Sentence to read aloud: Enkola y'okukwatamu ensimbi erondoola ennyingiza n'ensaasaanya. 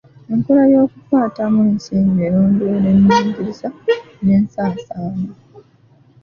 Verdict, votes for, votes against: accepted, 2, 1